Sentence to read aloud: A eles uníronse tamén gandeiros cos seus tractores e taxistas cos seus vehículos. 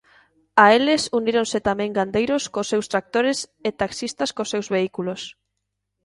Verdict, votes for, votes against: accepted, 2, 0